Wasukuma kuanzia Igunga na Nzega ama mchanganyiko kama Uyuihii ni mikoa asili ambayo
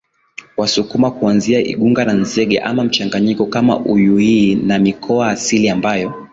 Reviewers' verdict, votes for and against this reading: accepted, 3, 1